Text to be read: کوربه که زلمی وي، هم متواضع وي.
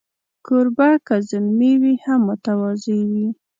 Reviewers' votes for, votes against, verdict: 2, 0, accepted